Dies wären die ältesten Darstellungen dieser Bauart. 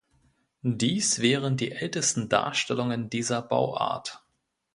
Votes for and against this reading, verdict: 2, 0, accepted